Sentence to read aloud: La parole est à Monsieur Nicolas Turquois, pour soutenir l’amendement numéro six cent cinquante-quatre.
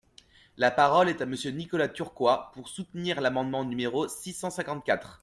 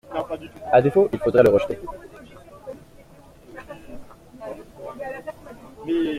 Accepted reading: first